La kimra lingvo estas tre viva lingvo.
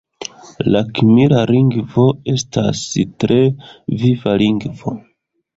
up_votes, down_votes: 1, 2